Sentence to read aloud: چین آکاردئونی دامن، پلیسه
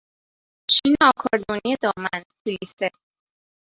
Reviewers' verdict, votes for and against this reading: rejected, 0, 2